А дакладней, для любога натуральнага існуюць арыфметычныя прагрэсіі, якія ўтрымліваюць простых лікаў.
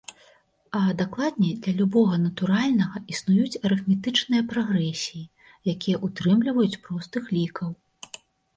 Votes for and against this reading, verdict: 2, 0, accepted